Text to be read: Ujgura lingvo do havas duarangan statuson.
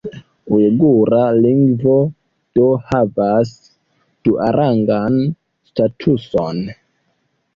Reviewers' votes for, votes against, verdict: 2, 0, accepted